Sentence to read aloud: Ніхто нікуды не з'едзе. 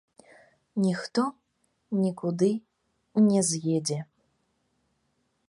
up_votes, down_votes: 2, 0